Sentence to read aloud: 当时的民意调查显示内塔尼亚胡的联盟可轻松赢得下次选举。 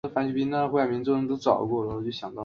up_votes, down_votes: 0, 2